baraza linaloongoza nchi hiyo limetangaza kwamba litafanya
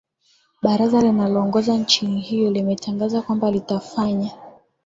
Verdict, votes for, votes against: accepted, 2, 1